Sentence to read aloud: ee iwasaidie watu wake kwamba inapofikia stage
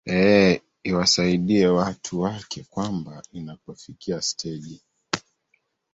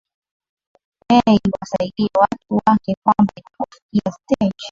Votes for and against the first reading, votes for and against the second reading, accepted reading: 1, 2, 2, 1, second